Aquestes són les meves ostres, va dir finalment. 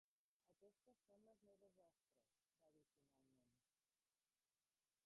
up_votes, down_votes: 0, 2